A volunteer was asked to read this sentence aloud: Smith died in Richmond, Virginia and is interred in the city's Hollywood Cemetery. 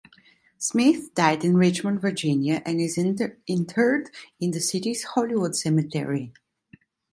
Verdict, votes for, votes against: rejected, 0, 2